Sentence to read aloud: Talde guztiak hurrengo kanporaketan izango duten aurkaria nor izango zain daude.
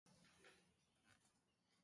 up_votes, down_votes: 0, 2